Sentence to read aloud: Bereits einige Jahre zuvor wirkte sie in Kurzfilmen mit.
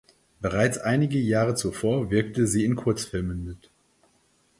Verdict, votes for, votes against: accepted, 4, 0